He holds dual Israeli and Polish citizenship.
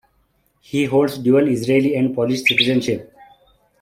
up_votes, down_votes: 2, 0